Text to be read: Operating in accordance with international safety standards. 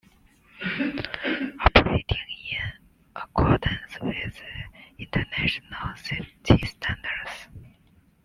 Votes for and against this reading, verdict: 1, 2, rejected